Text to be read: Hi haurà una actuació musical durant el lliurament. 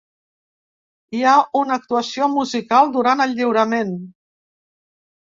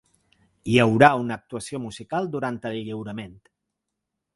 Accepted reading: second